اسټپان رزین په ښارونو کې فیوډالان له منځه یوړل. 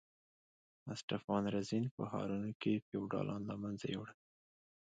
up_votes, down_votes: 0, 2